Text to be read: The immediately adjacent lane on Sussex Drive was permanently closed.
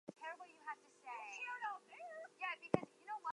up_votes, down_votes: 0, 4